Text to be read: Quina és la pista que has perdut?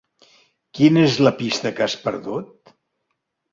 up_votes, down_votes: 3, 0